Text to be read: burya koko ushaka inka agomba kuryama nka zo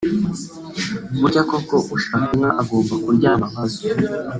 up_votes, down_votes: 2, 1